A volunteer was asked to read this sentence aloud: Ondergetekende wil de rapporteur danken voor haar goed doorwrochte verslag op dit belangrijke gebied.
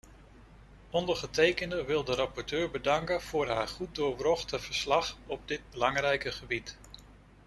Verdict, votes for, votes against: rejected, 0, 2